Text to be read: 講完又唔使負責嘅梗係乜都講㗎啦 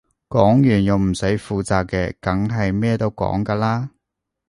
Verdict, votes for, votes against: rejected, 0, 2